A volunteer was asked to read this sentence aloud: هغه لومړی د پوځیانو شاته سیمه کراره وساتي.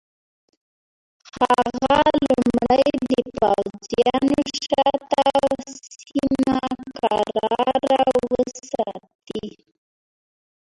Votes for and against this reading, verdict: 0, 2, rejected